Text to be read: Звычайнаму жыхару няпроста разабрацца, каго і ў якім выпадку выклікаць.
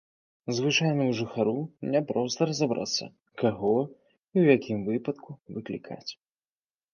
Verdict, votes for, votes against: accepted, 2, 0